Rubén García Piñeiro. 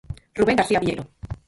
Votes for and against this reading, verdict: 0, 4, rejected